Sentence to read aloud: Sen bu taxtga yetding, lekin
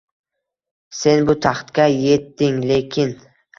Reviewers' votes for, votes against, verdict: 2, 0, accepted